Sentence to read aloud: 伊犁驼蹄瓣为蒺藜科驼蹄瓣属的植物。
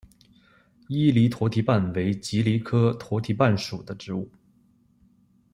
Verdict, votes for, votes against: accepted, 2, 0